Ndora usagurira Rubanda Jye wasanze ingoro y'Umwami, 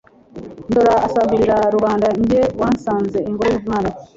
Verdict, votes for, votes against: accepted, 2, 0